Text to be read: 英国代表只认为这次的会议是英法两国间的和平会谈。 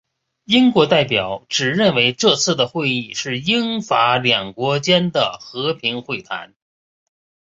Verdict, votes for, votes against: accepted, 2, 0